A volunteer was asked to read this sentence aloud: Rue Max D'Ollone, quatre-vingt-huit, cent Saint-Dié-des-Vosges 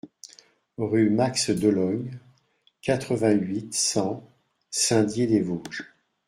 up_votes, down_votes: 2, 1